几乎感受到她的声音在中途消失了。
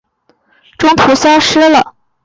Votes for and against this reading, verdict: 0, 2, rejected